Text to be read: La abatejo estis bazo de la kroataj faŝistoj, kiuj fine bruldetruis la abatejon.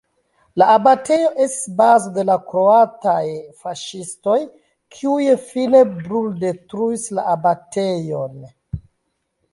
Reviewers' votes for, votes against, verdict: 0, 2, rejected